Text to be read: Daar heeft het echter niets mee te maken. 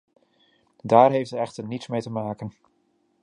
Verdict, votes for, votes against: accepted, 2, 0